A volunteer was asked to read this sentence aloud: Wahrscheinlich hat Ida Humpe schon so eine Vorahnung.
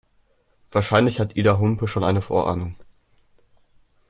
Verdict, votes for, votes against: rejected, 0, 2